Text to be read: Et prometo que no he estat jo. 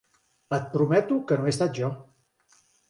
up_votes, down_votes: 3, 0